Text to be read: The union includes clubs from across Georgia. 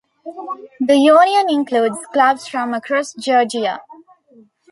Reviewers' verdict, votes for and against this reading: rejected, 1, 2